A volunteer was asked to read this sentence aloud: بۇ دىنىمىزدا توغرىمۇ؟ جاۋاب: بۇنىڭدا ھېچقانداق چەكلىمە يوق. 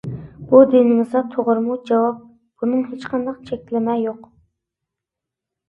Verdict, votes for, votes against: rejected, 0, 2